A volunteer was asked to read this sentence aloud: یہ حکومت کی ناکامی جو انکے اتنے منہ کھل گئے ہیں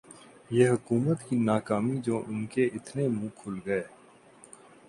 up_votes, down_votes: 0, 2